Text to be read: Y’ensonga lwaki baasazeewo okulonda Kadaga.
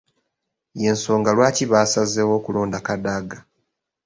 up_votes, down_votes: 2, 0